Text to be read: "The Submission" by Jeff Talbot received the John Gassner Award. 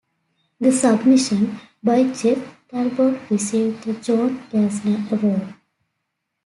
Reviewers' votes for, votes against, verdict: 2, 0, accepted